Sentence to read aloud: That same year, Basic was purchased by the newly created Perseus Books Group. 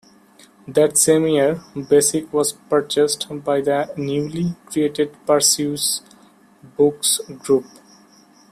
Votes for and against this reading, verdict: 2, 1, accepted